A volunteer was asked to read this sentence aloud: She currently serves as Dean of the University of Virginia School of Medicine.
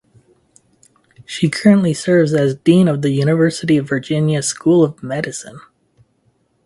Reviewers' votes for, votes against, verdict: 4, 0, accepted